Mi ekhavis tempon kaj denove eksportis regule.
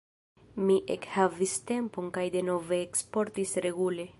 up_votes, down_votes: 0, 2